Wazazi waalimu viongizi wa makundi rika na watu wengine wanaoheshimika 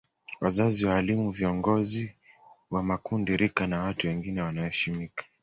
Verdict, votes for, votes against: accepted, 2, 0